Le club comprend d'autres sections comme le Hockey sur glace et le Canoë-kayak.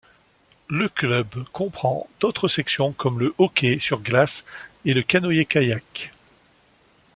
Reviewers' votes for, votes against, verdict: 2, 0, accepted